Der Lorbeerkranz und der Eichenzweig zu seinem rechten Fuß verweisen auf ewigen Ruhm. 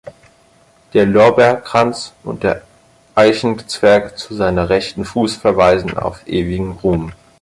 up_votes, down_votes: 0, 4